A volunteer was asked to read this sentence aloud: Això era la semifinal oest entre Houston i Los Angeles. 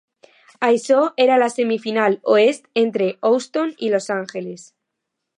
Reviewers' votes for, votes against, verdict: 2, 0, accepted